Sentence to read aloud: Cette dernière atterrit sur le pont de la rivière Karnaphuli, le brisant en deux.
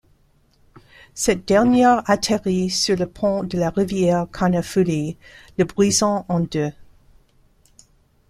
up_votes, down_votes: 2, 0